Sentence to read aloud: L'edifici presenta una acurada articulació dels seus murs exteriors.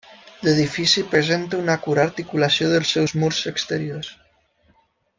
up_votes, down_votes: 0, 2